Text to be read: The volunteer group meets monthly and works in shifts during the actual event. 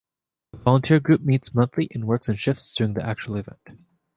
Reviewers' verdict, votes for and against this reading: accepted, 2, 1